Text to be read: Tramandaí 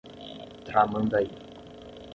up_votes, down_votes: 5, 5